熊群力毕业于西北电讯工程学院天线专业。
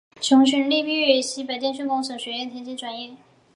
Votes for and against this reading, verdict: 1, 2, rejected